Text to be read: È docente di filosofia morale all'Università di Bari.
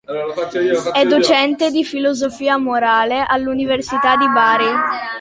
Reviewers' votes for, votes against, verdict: 1, 2, rejected